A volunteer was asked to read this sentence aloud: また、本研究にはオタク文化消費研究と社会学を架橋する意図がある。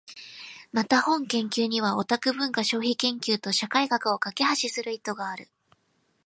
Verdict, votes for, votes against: accepted, 2, 0